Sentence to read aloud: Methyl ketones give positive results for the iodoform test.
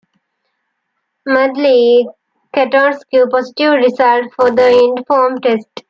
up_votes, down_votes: 1, 2